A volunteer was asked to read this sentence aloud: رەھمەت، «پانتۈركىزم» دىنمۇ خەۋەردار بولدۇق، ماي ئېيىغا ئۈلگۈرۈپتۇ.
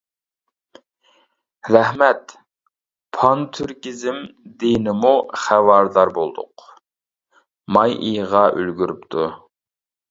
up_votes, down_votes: 0, 2